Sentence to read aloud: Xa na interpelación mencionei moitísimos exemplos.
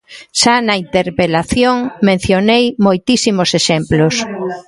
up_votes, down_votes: 1, 2